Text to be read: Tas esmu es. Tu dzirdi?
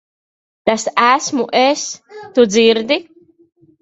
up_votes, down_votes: 1, 2